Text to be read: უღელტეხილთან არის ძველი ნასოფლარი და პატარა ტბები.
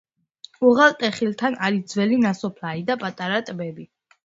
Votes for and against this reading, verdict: 1, 2, rejected